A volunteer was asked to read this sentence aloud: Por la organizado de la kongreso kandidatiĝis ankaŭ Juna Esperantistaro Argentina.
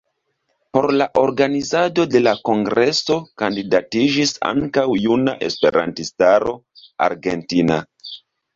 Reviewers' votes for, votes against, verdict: 1, 2, rejected